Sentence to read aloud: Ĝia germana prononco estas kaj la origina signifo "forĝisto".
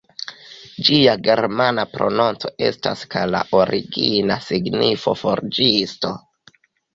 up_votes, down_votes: 3, 2